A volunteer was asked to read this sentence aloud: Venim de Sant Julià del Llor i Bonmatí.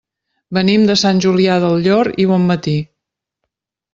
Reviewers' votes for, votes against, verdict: 3, 0, accepted